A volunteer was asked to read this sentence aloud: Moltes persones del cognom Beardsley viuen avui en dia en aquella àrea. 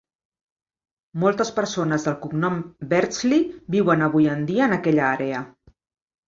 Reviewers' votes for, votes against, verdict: 2, 0, accepted